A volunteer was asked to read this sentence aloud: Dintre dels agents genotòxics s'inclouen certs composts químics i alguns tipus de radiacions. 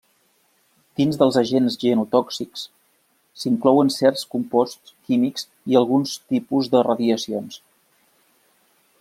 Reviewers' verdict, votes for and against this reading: rejected, 1, 2